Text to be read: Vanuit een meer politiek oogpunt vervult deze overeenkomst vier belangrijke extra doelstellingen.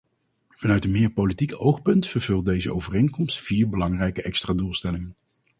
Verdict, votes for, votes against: rejected, 2, 2